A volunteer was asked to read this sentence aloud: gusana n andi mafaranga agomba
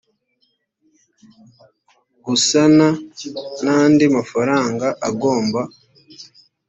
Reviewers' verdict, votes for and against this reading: accepted, 2, 0